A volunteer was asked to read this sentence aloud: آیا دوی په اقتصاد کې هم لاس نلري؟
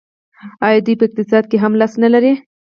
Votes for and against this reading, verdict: 4, 0, accepted